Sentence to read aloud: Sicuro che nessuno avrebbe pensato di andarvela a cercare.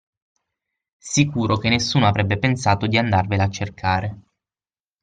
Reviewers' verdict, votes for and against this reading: accepted, 6, 0